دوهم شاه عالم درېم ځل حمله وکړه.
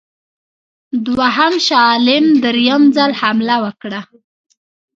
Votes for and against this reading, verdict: 0, 2, rejected